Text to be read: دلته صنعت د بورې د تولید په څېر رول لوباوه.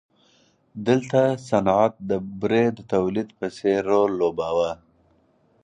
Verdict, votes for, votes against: accepted, 4, 0